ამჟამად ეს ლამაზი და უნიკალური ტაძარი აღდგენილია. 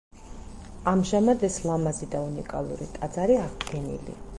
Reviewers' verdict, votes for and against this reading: rejected, 2, 4